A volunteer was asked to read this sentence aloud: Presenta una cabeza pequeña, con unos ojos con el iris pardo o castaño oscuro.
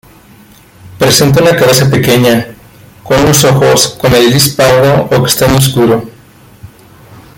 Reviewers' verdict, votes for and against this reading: rejected, 0, 2